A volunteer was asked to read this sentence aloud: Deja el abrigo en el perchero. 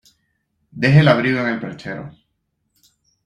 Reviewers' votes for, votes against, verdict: 2, 0, accepted